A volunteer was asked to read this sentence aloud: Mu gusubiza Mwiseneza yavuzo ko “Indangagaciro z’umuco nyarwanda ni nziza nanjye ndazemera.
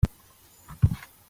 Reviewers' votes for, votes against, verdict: 0, 2, rejected